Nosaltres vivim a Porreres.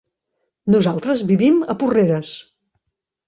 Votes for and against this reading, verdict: 3, 0, accepted